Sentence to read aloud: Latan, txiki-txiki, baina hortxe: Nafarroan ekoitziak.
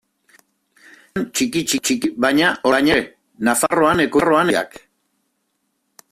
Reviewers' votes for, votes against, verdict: 0, 2, rejected